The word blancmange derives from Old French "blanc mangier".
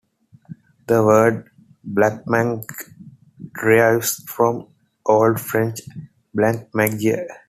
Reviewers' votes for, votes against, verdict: 0, 2, rejected